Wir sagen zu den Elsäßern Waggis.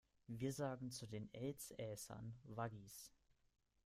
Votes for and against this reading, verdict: 0, 2, rejected